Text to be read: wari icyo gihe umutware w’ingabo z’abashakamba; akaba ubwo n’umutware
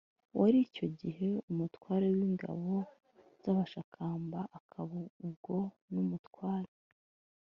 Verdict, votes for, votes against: accepted, 2, 0